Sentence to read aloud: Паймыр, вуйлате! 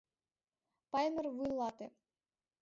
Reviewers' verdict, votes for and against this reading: accepted, 2, 1